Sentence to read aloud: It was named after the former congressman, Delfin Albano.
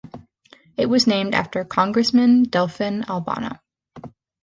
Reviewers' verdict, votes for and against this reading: rejected, 0, 2